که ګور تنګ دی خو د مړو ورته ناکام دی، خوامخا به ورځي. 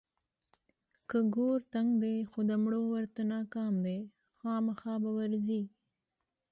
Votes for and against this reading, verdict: 2, 0, accepted